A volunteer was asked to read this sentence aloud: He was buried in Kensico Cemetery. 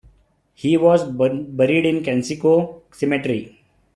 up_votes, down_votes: 2, 1